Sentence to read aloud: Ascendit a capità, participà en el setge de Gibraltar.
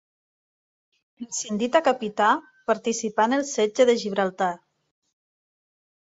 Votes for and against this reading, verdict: 1, 2, rejected